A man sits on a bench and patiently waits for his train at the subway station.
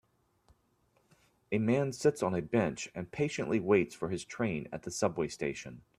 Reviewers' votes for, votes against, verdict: 2, 0, accepted